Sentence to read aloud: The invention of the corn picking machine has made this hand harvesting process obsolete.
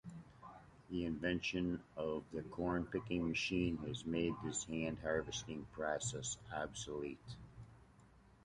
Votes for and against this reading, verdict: 2, 0, accepted